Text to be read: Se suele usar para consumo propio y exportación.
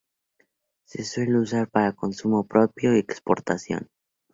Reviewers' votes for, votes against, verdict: 0, 2, rejected